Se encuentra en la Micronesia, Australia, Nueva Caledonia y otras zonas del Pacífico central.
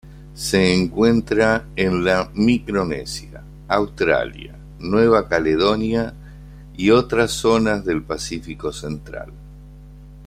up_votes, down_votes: 2, 0